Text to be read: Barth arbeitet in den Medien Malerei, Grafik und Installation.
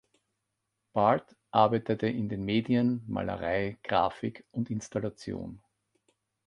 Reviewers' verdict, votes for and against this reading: rejected, 0, 2